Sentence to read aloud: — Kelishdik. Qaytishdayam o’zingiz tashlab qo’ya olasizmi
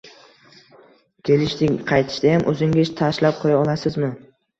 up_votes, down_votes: 1, 2